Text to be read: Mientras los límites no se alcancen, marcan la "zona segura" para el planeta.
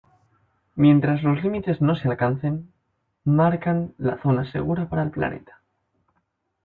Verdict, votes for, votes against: accepted, 2, 1